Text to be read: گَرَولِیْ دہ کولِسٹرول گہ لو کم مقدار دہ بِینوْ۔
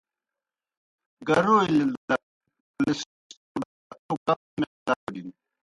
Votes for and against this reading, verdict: 0, 2, rejected